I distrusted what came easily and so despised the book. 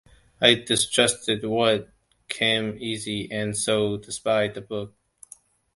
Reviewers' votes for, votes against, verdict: 0, 2, rejected